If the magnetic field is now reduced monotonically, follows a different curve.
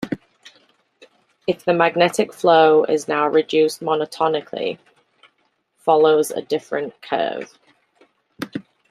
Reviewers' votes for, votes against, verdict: 0, 2, rejected